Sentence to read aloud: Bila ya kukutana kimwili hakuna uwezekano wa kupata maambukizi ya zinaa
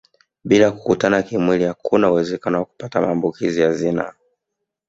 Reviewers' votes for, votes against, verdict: 2, 0, accepted